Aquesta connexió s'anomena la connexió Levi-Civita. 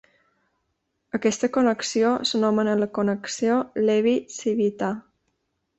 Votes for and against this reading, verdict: 2, 0, accepted